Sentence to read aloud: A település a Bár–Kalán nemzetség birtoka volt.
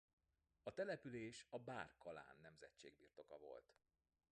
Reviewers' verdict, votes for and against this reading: rejected, 0, 2